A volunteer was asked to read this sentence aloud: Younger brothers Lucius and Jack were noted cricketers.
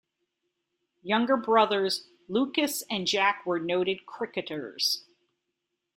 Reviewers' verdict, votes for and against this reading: rejected, 1, 2